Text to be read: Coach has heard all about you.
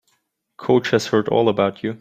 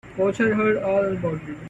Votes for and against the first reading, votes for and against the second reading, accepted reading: 2, 0, 1, 2, first